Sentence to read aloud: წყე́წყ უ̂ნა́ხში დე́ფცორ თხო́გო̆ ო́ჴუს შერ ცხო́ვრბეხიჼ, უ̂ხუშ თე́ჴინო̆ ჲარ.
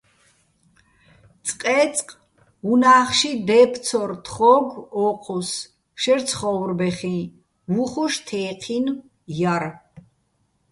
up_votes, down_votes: 2, 0